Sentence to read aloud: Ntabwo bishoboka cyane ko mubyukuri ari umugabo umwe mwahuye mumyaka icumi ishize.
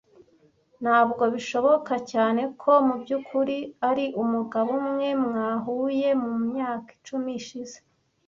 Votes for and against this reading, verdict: 2, 0, accepted